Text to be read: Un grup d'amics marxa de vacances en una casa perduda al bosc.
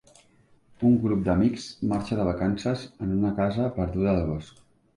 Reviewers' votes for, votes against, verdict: 2, 1, accepted